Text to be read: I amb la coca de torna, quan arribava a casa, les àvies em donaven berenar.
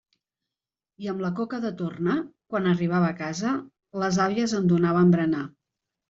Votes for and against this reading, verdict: 2, 0, accepted